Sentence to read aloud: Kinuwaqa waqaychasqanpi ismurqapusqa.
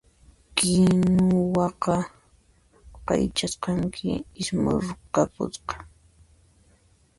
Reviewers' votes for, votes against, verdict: 0, 2, rejected